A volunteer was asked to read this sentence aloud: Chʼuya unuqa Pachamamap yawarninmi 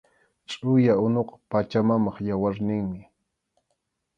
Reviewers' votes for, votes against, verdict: 2, 0, accepted